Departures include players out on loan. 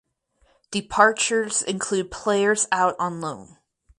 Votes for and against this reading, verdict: 4, 0, accepted